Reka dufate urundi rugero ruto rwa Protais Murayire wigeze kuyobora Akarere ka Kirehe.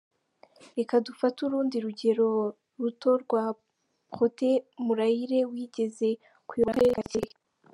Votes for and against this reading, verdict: 1, 2, rejected